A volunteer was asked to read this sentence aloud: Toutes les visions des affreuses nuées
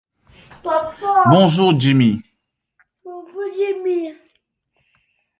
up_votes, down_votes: 0, 2